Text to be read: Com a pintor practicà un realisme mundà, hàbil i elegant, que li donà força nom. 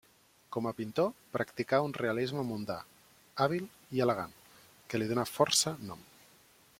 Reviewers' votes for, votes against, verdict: 2, 0, accepted